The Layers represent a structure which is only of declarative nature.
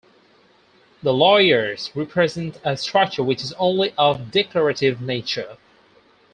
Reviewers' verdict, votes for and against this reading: rejected, 0, 2